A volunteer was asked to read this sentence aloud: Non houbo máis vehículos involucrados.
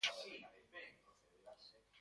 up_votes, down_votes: 0, 2